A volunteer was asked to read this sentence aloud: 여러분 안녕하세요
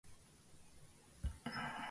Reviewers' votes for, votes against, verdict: 1, 2, rejected